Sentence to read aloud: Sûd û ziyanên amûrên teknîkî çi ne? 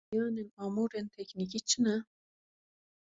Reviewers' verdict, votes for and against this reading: rejected, 0, 2